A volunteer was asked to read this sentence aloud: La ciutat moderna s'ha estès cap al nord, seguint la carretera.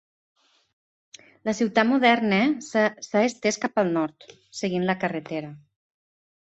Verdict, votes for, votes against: rejected, 0, 2